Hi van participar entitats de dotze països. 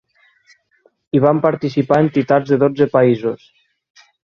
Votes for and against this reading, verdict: 6, 0, accepted